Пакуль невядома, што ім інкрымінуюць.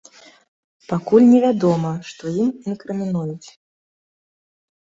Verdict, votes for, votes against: accepted, 2, 0